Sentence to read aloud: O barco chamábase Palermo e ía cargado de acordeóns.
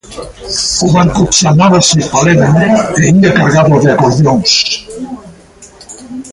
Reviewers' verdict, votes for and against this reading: rejected, 0, 2